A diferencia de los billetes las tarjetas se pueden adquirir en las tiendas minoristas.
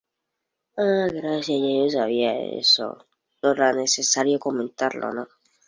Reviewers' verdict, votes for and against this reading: rejected, 0, 2